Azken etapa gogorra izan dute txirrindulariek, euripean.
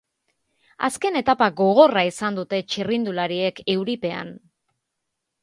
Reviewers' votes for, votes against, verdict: 2, 0, accepted